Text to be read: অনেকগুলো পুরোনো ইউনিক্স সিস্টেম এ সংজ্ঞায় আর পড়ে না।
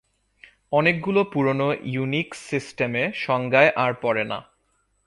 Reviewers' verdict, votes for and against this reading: accepted, 6, 4